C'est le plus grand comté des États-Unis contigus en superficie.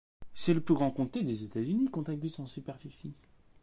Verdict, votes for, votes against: accepted, 2, 1